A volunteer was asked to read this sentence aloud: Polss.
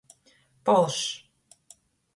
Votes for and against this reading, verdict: 0, 2, rejected